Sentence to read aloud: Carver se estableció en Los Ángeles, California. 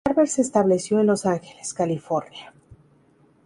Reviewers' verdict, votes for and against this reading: rejected, 2, 2